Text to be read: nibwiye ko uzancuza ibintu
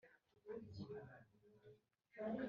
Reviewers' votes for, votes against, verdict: 0, 2, rejected